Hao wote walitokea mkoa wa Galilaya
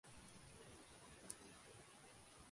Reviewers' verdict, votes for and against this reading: rejected, 0, 3